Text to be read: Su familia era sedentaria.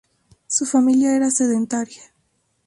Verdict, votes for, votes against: accepted, 2, 0